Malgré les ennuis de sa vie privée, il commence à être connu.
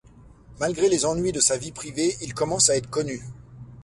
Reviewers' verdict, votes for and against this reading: accepted, 2, 0